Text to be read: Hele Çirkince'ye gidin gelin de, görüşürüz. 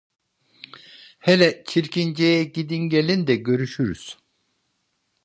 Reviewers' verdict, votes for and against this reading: accepted, 2, 0